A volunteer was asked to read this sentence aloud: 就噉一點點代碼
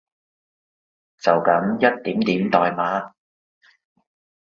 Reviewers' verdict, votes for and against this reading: accepted, 2, 0